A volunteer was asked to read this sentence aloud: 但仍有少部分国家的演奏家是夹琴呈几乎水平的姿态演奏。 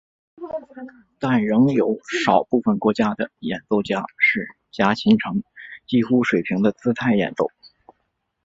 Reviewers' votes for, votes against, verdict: 2, 1, accepted